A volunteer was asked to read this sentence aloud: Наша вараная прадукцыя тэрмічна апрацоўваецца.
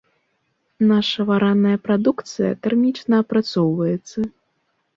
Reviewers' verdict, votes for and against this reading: accepted, 2, 1